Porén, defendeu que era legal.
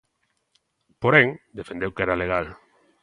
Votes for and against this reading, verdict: 2, 0, accepted